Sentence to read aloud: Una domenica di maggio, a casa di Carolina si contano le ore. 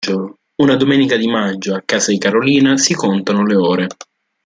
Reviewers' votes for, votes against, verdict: 1, 2, rejected